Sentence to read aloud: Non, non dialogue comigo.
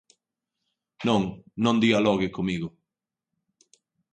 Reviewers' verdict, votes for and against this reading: accepted, 2, 0